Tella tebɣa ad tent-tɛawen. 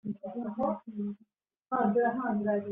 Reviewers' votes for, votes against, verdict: 1, 2, rejected